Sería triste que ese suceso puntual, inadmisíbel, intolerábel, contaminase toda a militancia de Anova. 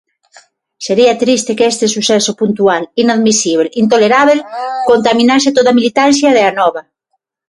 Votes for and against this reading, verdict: 0, 6, rejected